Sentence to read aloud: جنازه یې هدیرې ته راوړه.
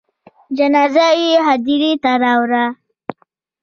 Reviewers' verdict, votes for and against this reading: rejected, 1, 2